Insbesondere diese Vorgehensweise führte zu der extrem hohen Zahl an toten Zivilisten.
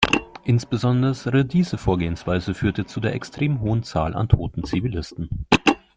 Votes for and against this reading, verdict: 0, 2, rejected